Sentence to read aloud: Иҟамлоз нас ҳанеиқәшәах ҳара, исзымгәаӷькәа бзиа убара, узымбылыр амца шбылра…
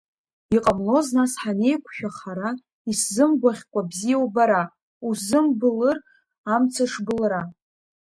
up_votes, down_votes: 1, 2